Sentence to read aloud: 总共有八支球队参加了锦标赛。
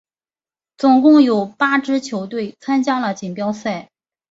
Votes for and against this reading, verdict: 2, 0, accepted